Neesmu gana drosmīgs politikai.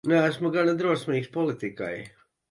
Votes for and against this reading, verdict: 3, 0, accepted